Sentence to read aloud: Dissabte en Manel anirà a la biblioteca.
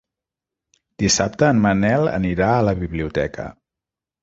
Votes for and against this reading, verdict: 4, 0, accepted